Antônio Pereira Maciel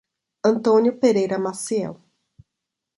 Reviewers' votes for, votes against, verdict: 2, 0, accepted